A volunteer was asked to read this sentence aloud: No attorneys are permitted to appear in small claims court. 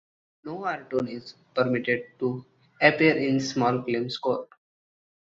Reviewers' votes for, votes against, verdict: 1, 2, rejected